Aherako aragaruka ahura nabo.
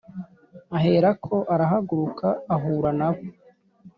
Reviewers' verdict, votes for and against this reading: accepted, 2, 0